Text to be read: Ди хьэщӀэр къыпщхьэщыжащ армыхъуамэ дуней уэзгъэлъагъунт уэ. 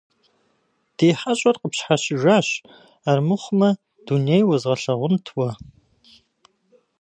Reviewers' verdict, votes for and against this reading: rejected, 0, 2